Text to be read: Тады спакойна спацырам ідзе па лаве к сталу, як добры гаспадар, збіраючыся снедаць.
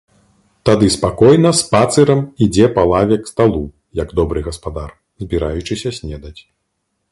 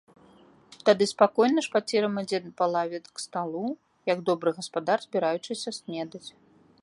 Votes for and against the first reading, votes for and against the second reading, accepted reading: 2, 0, 0, 2, first